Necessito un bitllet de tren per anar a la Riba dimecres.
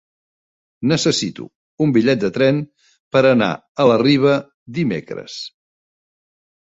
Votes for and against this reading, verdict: 3, 1, accepted